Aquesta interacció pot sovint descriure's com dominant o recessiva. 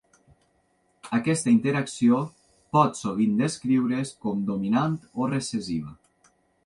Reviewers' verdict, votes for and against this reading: accepted, 3, 0